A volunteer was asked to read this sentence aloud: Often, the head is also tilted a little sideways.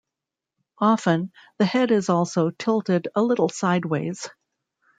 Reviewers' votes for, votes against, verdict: 2, 0, accepted